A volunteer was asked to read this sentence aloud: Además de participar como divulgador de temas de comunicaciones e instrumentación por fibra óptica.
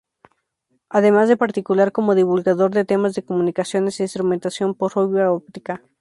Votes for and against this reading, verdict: 0, 2, rejected